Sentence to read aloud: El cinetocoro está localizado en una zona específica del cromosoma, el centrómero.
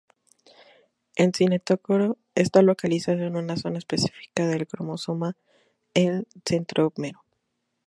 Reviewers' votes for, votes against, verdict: 2, 0, accepted